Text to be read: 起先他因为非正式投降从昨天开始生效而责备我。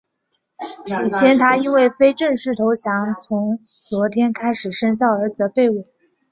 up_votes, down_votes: 2, 0